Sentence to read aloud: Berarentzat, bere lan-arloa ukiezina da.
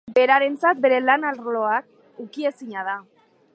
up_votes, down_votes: 1, 2